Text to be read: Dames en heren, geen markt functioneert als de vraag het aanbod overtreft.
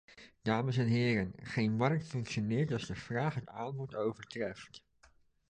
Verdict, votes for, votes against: accepted, 2, 0